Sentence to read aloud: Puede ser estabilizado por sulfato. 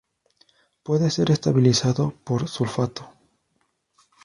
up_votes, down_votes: 2, 0